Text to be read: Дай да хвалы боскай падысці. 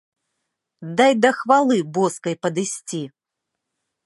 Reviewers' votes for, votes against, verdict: 2, 0, accepted